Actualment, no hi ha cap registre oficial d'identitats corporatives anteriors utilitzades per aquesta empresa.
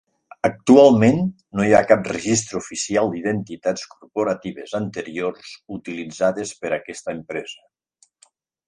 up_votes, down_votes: 0, 2